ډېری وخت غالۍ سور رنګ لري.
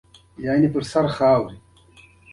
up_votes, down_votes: 2, 1